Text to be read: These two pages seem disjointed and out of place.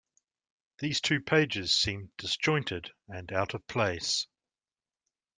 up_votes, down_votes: 2, 0